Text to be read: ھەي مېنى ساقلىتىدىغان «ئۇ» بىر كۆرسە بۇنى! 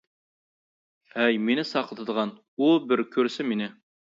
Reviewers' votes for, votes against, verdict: 1, 2, rejected